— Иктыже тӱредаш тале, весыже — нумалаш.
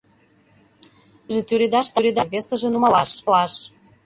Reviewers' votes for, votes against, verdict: 0, 2, rejected